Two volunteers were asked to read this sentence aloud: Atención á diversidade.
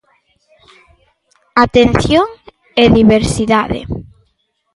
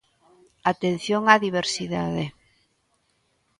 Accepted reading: second